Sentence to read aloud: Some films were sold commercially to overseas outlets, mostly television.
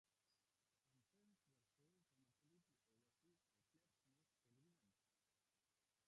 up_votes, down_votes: 1, 2